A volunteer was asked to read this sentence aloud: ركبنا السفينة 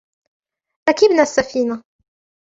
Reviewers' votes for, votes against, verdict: 1, 2, rejected